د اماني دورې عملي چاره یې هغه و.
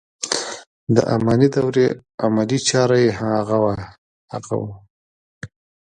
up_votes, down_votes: 1, 2